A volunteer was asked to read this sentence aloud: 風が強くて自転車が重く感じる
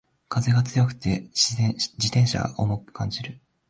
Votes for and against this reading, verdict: 1, 2, rejected